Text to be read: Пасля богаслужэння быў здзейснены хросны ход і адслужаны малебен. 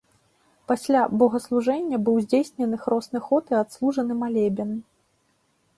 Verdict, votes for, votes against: accepted, 2, 0